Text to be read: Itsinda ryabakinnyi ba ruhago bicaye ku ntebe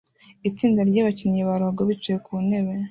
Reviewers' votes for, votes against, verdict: 0, 2, rejected